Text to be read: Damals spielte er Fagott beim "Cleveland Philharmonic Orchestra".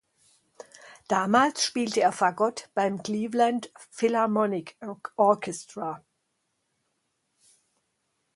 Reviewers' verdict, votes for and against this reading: rejected, 2, 4